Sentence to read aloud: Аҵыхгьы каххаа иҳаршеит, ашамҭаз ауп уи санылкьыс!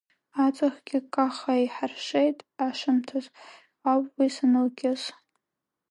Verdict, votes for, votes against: accepted, 2, 0